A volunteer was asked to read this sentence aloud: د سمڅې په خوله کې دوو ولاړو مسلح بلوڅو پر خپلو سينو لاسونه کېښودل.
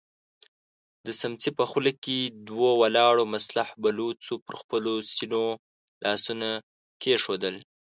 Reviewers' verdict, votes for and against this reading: rejected, 0, 3